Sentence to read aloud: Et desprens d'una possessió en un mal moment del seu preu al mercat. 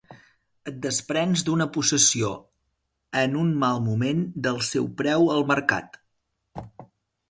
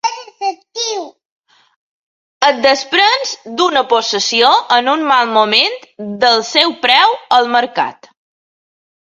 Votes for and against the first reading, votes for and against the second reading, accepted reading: 3, 0, 0, 2, first